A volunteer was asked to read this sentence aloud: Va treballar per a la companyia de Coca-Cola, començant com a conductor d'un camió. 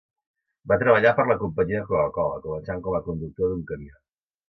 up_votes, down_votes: 2, 0